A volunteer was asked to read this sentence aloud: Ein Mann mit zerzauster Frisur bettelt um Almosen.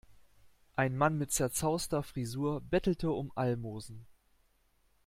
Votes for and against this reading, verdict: 0, 2, rejected